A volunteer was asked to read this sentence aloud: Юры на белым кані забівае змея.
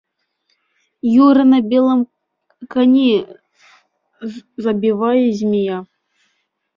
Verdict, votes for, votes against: rejected, 1, 2